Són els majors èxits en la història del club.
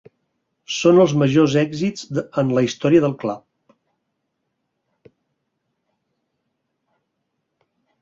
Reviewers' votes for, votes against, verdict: 2, 4, rejected